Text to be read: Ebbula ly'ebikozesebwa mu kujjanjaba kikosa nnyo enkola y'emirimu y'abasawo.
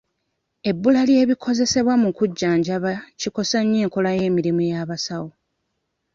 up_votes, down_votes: 2, 0